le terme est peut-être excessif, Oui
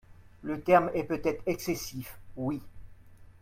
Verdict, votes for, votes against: accepted, 2, 0